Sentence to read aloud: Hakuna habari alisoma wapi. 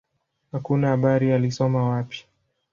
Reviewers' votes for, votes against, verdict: 1, 2, rejected